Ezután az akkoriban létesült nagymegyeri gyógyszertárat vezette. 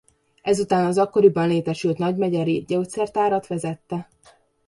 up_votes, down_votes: 2, 0